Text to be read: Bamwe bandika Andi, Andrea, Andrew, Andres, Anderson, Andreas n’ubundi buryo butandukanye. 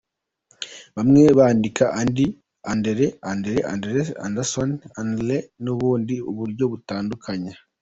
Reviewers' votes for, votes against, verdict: 2, 0, accepted